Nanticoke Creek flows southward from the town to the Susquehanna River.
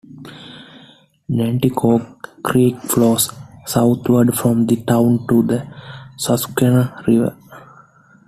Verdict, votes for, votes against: accepted, 2, 0